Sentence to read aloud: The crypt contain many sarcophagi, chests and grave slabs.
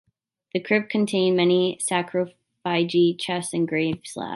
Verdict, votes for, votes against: rejected, 0, 2